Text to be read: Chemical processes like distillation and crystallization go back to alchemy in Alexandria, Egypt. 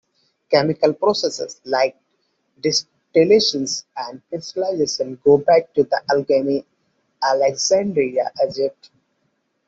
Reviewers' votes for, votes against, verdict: 2, 1, accepted